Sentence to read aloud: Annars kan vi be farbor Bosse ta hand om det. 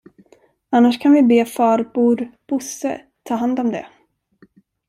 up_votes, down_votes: 0, 2